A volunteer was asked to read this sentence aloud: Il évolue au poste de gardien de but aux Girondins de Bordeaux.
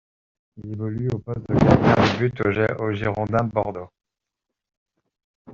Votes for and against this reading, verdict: 0, 2, rejected